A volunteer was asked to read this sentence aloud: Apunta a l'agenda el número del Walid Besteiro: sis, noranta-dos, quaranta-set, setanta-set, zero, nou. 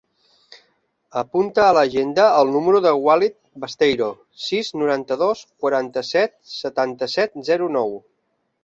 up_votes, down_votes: 2, 1